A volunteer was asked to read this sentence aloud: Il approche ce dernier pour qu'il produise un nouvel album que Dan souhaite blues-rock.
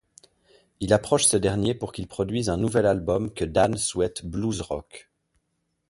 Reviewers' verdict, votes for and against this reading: accepted, 2, 0